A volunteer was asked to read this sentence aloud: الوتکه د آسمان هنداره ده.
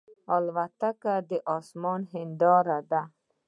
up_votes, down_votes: 2, 1